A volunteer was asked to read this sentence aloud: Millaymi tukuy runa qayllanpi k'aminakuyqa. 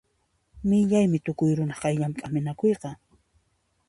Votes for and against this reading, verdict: 2, 0, accepted